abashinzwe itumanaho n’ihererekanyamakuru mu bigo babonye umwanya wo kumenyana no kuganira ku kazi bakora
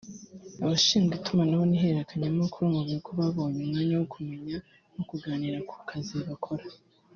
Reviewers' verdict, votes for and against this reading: rejected, 0, 2